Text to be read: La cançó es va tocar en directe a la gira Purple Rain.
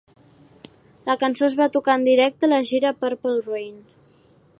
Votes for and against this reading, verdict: 1, 2, rejected